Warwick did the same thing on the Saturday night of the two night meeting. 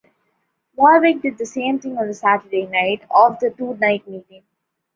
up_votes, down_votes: 2, 0